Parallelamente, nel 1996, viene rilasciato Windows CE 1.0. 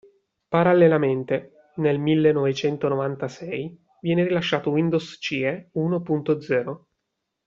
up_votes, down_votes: 0, 2